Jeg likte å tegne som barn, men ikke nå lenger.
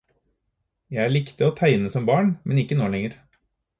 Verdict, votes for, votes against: accepted, 4, 0